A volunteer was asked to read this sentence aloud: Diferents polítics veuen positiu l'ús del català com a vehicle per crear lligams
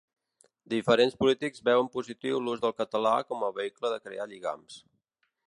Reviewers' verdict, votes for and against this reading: rejected, 1, 3